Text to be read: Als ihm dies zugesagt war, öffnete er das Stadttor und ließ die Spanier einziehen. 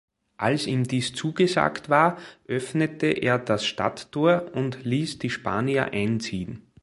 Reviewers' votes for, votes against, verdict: 2, 0, accepted